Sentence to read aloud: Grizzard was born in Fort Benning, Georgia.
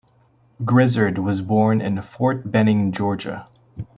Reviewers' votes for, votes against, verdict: 2, 0, accepted